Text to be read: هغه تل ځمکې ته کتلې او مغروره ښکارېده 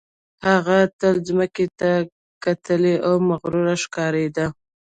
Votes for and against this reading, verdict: 2, 0, accepted